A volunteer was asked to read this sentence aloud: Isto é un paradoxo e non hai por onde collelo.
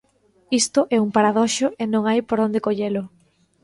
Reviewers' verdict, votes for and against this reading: rejected, 1, 2